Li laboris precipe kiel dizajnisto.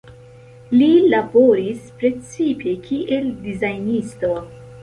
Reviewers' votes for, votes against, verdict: 2, 0, accepted